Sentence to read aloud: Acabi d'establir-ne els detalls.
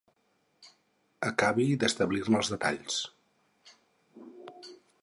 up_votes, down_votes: 4, 0